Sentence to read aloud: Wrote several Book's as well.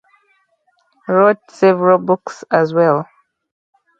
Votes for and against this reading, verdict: 4, 0, accepted